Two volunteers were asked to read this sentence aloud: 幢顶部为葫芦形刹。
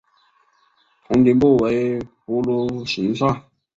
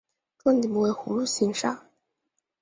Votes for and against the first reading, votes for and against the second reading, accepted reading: 0, 2, 2, 1, second